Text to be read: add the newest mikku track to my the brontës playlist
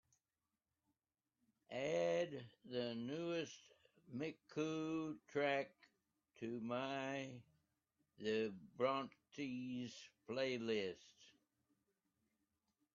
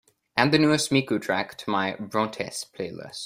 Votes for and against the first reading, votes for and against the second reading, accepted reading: 0, 2, 2, 1, second